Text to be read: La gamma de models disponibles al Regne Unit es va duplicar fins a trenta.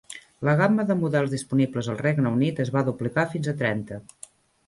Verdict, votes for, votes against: rejected, 1, 2